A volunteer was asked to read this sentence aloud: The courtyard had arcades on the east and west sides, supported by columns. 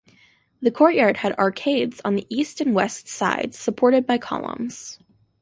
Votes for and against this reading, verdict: 2, 0, accepted